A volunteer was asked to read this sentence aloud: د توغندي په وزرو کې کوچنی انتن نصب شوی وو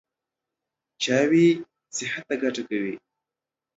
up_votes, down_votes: 0, 2